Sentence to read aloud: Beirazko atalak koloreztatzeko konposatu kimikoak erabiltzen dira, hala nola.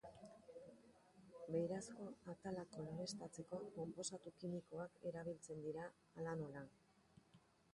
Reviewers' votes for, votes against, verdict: 2, 1, accepted